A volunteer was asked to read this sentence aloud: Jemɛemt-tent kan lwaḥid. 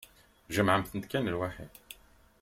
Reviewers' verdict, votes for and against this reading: rejected, 1, 2